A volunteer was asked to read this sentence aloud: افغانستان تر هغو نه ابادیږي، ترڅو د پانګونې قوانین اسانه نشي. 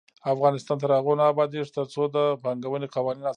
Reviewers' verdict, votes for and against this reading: accepted, 2, 0